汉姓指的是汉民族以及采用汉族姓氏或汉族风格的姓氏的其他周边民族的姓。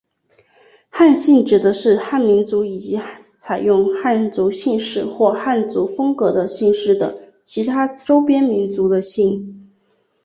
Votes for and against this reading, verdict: 2, 1, accepted